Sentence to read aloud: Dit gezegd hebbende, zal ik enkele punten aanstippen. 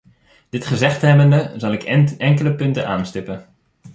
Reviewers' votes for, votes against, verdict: 0, 2, rejected